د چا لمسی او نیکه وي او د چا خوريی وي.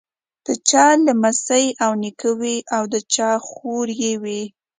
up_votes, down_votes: 2, 0